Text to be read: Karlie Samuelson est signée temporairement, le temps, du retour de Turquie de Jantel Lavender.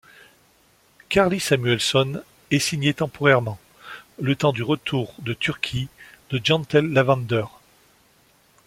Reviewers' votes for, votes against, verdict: 2, 0, accepted